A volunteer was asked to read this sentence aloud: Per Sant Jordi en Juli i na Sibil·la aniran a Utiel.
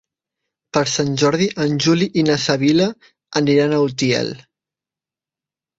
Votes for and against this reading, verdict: 0, 2, rejected